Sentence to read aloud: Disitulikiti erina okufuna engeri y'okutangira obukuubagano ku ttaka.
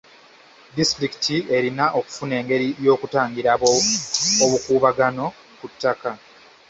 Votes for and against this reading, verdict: 0, 2, rejected